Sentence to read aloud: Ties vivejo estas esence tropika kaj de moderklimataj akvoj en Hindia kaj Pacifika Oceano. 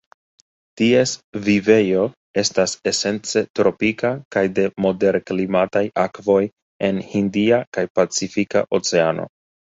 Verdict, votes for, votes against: rejected, 1, 2